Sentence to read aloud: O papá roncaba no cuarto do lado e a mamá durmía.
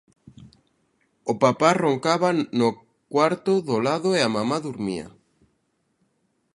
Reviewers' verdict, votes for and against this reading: rejected, 1, 2